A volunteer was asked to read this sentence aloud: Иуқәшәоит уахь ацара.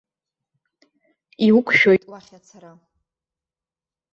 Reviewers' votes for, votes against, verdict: 1, 2, rejected